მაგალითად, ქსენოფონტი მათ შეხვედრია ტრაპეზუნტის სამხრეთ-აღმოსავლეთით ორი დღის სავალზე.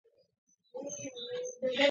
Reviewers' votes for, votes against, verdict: 0, 2, rejected